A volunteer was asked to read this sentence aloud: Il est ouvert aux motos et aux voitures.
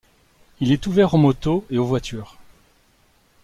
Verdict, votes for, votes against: accepted, 2, 0